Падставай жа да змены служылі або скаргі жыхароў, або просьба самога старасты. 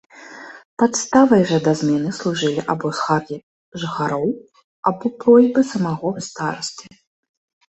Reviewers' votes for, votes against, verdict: 1, 2, rejected